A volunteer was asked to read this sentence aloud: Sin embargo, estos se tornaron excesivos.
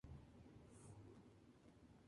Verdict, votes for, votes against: rejected, 0, 2